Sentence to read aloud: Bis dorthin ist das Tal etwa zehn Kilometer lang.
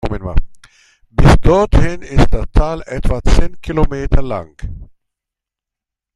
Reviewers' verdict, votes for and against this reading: rejected, 1, 2